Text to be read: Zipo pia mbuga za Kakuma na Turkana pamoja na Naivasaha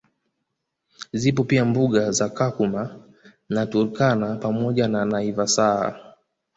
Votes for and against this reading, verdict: 1, 2, rejected